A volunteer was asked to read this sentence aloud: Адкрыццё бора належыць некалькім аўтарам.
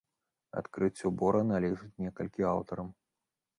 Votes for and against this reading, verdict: 0, 2, rejected